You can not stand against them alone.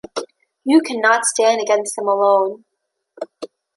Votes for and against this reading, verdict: 2, 0, accepted